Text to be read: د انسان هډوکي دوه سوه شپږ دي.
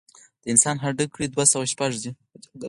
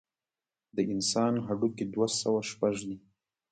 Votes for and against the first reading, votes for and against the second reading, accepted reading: 4, 0, 0, 2, first